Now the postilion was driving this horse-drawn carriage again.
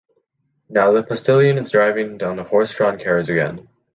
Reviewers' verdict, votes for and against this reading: rejected, 0, 2